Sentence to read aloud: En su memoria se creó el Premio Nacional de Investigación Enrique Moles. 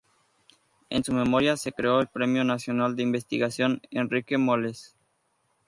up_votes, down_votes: 2, 0